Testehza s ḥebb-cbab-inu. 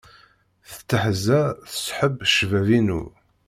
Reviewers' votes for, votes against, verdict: 1, 2, rejected